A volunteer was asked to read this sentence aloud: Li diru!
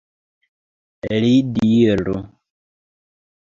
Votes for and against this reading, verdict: 1, 2, rejected